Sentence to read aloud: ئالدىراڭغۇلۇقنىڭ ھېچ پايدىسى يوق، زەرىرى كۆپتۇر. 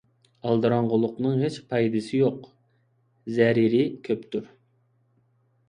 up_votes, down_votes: 2, 0